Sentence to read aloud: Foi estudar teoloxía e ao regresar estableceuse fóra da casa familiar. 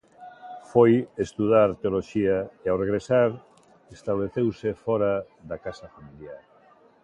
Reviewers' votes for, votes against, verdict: 1, 2, rejected